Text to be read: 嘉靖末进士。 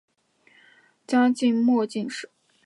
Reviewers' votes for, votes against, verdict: 7, 2, accepted